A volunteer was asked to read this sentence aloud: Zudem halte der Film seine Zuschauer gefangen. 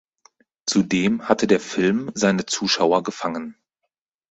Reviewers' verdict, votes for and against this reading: rejected, 0, 4